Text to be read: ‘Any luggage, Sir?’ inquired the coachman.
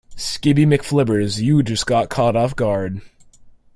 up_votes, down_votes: 0, 2